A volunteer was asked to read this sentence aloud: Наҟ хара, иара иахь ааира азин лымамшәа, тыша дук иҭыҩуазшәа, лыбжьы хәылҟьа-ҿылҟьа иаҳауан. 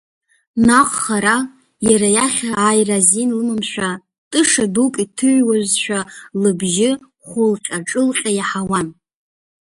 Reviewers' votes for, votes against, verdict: 2, 0, accepted